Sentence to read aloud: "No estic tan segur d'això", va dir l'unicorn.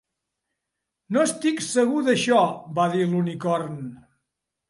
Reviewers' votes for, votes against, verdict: 0, 2, rejected